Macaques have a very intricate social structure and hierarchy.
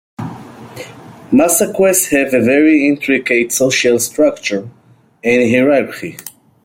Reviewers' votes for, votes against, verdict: 1, 2, rejected